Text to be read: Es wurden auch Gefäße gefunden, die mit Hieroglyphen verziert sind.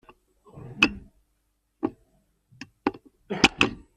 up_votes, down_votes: 0, 2